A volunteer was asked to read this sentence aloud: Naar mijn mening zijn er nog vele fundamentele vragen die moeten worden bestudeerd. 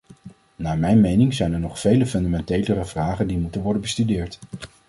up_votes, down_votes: 1, 2